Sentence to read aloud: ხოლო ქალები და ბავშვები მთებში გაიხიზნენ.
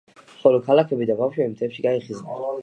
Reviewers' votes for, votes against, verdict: 1, 2, rejected